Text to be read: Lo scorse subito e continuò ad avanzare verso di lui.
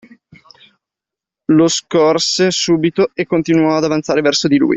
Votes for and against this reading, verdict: 2, 1, accepted